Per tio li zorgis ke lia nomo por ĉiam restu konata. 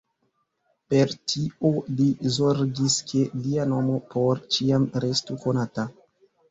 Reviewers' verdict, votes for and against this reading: accepted, 4, 2